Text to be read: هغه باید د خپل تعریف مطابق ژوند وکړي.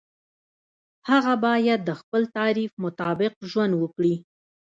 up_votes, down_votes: 2, 0